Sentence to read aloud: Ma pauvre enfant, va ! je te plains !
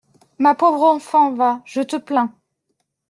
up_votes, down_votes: 1, 2